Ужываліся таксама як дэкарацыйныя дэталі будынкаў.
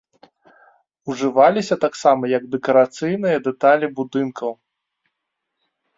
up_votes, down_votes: 2, 0